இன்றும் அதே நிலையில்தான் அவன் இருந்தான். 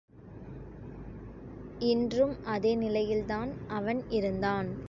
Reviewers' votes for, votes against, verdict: 2, 0, accepted